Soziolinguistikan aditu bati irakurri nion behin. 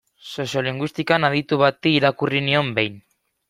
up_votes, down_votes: 2, 0